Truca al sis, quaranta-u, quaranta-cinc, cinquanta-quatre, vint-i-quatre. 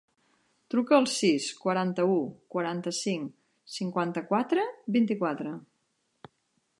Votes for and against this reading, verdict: 3, 0, accepted